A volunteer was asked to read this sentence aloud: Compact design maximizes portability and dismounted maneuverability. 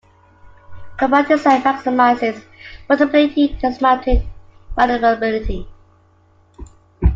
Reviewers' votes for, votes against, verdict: 1, 2, rejected